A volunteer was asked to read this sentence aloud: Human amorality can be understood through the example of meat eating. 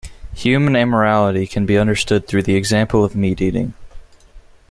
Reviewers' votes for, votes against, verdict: 2, 0, accepted